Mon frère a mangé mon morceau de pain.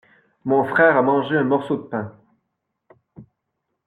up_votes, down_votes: 0, 2